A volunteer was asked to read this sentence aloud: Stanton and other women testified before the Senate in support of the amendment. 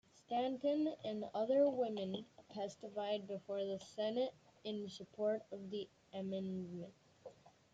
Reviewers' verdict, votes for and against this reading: accepted, 2, 1